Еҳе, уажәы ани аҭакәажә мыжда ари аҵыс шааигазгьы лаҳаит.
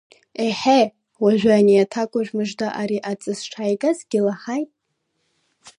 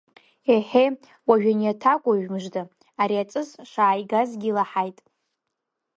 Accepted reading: second